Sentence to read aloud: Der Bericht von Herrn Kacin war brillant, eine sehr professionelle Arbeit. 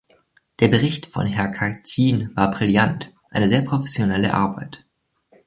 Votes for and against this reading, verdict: 2, 1, accepted